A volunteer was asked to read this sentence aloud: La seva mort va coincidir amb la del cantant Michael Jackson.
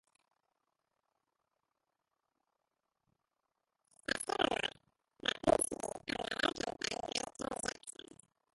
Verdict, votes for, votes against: rejected, 0, 2